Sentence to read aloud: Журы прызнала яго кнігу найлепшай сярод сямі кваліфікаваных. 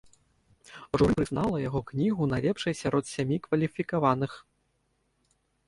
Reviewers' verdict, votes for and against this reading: accepted, 2, 1